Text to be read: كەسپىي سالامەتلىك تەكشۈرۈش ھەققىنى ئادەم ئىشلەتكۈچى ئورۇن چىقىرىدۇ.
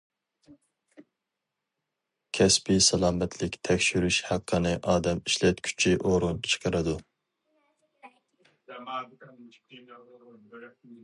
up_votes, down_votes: 0, 2